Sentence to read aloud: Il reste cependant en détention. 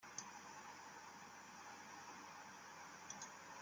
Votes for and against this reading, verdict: 0, 2, rejected